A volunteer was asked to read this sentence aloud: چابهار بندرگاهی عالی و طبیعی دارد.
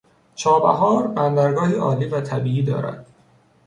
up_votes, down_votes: 2, 0